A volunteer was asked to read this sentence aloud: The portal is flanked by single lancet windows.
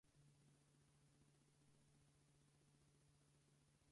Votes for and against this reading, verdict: 0, 4, rejected